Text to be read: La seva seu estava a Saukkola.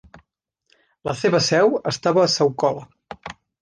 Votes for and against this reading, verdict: 2, 0, accepted